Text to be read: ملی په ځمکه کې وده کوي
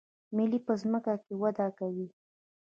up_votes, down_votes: 0, 2